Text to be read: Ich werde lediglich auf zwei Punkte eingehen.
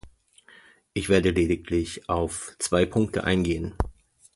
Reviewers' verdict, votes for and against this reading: accepted, 2, 0